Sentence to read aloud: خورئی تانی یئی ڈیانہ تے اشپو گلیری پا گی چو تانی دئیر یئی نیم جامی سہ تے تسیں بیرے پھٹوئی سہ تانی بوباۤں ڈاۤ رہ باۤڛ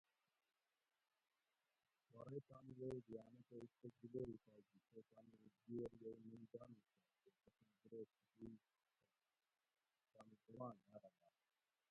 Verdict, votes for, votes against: rejected, 0, 2